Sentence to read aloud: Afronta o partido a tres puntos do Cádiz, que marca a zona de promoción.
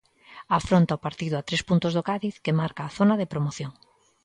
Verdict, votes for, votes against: accepted, 2, 0